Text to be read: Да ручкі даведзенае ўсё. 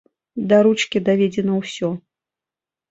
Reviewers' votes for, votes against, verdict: 0, 2, rejected